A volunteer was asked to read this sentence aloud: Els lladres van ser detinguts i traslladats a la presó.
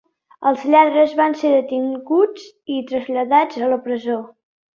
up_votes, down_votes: 2, 0